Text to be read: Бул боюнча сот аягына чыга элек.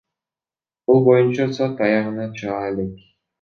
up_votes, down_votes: 1, 2